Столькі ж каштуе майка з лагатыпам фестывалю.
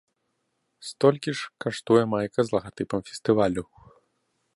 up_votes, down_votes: 2, 0